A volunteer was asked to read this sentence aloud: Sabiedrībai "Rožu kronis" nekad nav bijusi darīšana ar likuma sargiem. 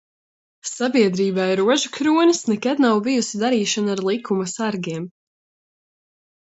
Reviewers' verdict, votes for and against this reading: accepted, 2, 0